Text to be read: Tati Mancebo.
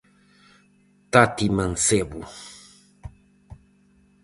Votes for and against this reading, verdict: 4, 0, accepted